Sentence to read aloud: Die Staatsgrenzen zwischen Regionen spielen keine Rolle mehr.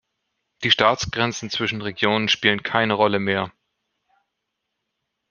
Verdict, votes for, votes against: accepted, 2, 0